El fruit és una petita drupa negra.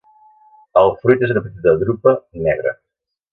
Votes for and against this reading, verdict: 0, 2, rejected